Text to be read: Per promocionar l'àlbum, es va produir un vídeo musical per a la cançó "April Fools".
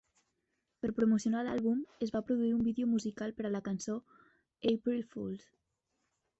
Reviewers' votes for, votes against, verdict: 3, 0, accepted